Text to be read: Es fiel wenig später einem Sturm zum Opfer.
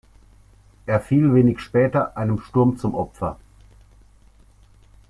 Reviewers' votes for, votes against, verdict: 0, 2, rejected